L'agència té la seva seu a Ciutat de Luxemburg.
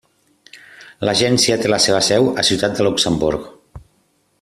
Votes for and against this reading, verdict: 3, 0, accepted